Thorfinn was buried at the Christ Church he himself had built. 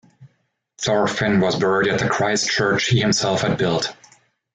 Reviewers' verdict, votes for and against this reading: accepted, 2, 0